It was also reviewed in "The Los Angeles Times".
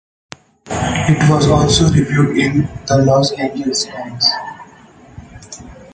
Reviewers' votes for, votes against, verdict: 2, 0, accepted